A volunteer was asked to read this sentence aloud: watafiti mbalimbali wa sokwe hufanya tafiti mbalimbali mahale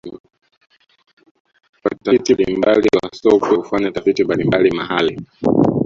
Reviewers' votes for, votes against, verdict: 0, 2, rejected